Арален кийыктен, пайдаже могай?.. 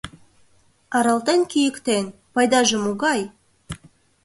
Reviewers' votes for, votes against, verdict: 1, 2, rejected